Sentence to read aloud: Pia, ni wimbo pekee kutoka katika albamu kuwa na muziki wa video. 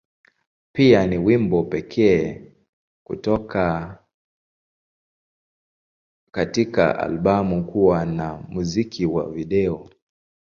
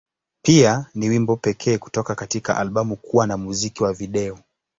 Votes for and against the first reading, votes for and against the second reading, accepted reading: 2, 0, 2, 2, first